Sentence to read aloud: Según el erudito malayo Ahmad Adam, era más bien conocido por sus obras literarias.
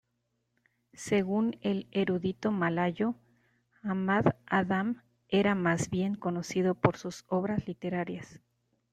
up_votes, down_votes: 2, 0